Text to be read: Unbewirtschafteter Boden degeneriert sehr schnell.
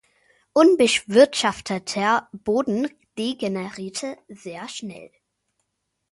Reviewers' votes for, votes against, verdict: 0, 2, rejected